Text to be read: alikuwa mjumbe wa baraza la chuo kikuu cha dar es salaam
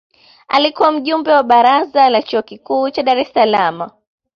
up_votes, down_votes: 0, 2